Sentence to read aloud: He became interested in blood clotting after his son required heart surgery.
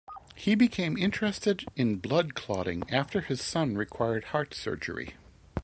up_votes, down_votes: 2, 0